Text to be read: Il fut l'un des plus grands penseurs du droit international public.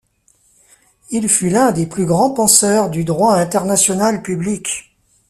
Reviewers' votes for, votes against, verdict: 2, 0, accepted